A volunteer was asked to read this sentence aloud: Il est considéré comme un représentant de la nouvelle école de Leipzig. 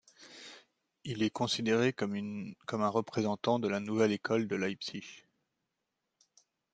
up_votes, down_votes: 0, 2